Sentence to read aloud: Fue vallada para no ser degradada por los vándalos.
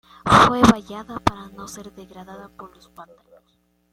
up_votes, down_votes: 1, 2